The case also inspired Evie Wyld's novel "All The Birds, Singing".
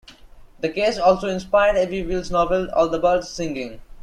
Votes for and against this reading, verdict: 2, 0, accepted